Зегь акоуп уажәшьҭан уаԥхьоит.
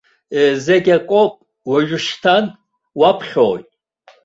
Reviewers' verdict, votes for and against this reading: accepted, 2, 0